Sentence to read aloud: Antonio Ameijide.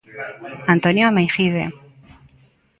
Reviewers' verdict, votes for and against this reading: accepted, 2, 0